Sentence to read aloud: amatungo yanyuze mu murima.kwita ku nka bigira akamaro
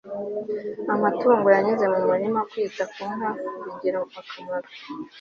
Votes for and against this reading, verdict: 2, 0, accepted